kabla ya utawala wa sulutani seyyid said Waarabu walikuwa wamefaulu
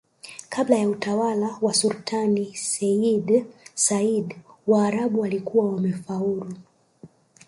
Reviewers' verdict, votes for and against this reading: accepted, 2, 1